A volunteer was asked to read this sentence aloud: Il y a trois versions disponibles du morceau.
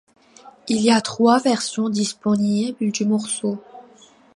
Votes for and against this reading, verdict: 2, 0, accepted